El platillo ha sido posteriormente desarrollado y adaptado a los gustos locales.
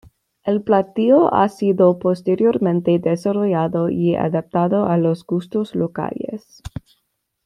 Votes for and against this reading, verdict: 2, 1, accepted